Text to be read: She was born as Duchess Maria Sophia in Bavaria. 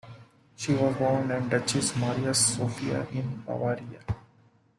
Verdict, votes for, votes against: accepted, 2, 1